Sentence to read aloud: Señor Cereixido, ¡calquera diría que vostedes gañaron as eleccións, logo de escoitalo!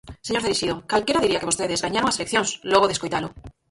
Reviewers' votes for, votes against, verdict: 0, 4, rejected